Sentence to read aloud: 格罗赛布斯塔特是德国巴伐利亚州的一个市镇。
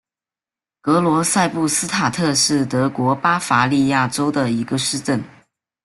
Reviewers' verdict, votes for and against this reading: accepted, 2, 0